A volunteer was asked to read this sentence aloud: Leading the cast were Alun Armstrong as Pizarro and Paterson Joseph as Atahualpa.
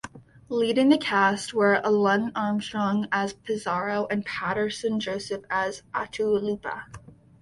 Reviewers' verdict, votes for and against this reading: accepted, 2, 0